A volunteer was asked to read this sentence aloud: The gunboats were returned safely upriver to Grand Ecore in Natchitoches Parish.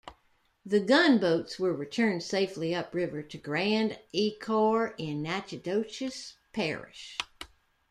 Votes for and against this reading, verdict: 2, 0, accepted